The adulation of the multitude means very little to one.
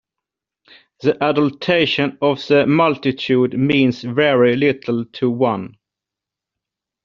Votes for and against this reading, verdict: 0, 2, rejected